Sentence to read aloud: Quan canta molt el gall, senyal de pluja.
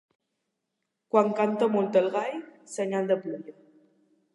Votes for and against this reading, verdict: 4, 1, accepted